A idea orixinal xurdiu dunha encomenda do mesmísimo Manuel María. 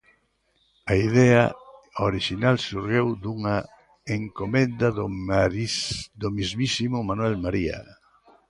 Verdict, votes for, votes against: rejected, 0, 2